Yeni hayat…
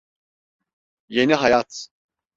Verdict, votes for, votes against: accepted, 2, 0